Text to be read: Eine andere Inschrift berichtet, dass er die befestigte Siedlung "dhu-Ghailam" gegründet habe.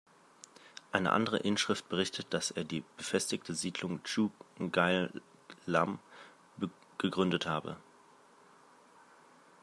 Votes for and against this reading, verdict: 2, 1, accepted